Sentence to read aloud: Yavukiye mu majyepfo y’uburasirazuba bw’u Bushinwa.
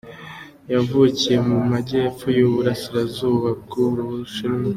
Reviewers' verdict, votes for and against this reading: accepted, 3, 0